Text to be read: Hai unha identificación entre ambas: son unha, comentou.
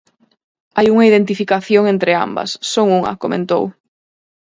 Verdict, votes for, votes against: accepted, 4, 0